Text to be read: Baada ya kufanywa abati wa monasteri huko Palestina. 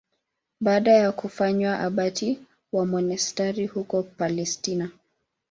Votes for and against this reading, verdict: 2, 0, accepted